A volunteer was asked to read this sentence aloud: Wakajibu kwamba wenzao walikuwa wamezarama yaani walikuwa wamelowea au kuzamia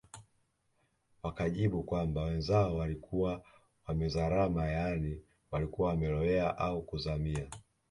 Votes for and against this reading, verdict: 0, 2, rejected